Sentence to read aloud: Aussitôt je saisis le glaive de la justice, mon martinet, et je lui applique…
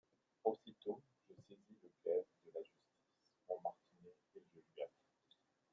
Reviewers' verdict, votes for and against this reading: rejected, 0, 2